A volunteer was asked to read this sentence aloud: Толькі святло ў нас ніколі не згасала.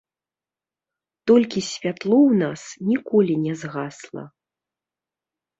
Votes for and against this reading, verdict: 1, 2, rejected